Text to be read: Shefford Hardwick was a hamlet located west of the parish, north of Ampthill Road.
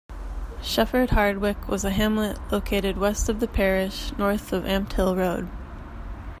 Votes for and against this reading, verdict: 2, 0, accepted